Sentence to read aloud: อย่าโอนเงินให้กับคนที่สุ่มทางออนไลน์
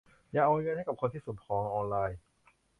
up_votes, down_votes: 1, 3